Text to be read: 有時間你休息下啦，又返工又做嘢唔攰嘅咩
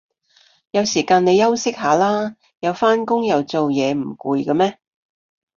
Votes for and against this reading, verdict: 2, 0, accepted